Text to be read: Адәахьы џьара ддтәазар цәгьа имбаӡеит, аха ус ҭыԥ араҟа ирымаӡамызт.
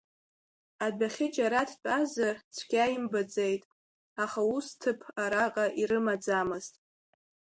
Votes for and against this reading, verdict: 2, 0, accepted